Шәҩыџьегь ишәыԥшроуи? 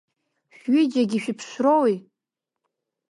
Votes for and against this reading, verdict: 1, 2, rejected